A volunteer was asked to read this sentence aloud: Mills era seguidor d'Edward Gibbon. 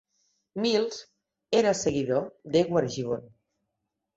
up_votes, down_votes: 2, 0